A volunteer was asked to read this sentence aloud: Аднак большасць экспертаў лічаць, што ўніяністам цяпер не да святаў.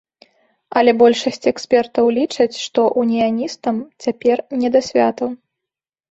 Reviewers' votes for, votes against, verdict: 1, 2, rejected